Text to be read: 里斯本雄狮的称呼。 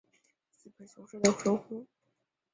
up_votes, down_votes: 0, 2